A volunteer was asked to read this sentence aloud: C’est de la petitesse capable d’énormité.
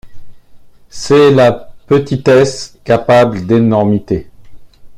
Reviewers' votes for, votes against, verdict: 0, 2, rejected